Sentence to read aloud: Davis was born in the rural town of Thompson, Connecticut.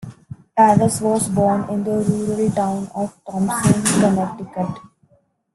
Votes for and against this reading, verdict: 0, 2, rejected